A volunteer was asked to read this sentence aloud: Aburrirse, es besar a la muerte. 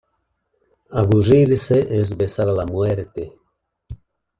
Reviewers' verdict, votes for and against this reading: accepted, 2, 0